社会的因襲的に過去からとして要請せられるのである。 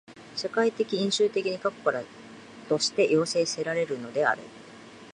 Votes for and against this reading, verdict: 2, 1, accepted